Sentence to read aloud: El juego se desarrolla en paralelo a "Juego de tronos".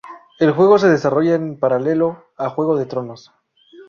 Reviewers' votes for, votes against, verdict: 2, 0, accepted